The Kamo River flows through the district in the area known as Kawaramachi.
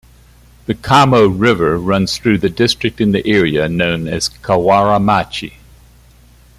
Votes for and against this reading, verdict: 1, 2, rejected